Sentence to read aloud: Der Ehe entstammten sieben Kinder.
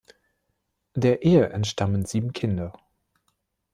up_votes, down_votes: 1, 2